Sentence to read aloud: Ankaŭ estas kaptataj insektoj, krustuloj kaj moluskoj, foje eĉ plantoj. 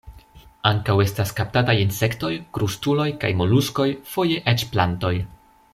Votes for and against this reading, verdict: 2, 0, accepted